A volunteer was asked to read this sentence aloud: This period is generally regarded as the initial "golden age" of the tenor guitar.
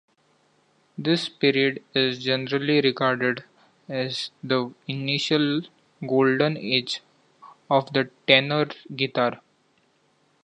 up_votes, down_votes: 2, 0